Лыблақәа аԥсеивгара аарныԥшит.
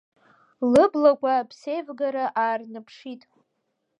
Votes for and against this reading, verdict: 1, 2, rejected